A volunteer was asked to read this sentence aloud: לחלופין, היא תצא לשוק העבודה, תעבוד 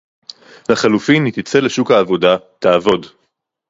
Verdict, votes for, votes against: rejected, 0, 2